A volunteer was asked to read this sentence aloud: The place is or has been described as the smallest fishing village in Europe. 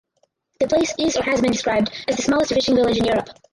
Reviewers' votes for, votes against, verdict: 0, 4, rejected